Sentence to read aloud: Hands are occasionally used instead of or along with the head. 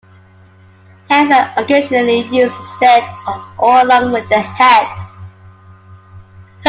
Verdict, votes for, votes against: accepted, 2, 0